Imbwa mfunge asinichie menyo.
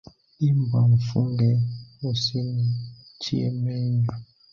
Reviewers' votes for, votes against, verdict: 1, 2, rejected